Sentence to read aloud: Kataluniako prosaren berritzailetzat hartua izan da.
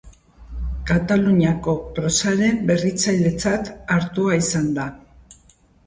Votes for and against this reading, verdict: 2, 0, accepted